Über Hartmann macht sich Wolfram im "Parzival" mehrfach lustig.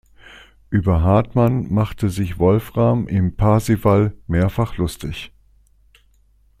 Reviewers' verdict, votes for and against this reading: rejected, 1, 2